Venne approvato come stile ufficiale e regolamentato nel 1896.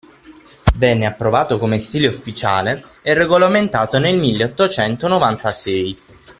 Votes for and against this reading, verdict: 0, 2, rejected